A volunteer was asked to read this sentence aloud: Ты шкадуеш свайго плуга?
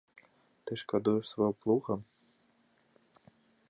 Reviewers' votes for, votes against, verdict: 1, 2, rejected